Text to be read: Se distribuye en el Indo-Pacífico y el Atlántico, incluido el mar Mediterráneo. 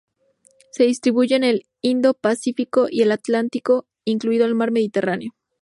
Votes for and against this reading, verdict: 0, 2, rejected